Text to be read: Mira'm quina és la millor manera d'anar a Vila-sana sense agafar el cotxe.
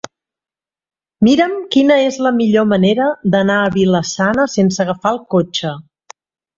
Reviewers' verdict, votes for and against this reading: accepted, 3, 0